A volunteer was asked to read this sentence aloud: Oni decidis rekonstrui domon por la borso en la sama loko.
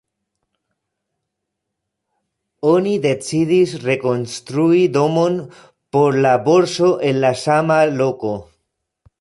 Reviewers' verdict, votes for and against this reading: rejected, 1, 2